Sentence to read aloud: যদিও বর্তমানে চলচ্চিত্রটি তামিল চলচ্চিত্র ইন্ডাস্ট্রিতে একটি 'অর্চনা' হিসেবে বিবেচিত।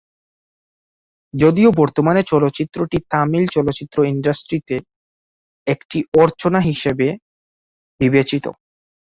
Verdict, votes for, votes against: accepted, 4, 0